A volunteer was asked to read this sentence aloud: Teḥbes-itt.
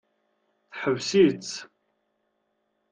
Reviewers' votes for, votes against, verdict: 2, 0, accepted